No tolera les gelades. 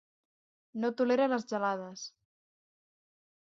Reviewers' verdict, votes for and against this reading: accepted, 6, 0